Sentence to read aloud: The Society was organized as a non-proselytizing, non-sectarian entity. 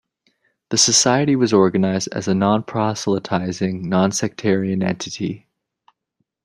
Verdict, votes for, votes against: accepted, 2, 0